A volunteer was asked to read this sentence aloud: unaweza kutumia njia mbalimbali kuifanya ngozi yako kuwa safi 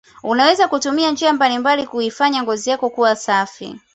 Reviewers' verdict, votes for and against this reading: accepted, 2, 0